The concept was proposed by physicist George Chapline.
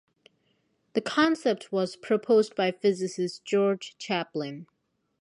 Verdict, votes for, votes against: accepted, 4, 0